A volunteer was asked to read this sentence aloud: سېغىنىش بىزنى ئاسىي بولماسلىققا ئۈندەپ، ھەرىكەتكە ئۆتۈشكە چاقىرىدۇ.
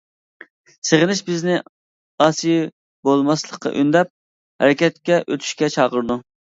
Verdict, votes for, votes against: accepted, 2, 0